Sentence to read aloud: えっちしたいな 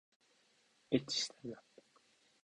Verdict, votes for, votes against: rejected, 1, 2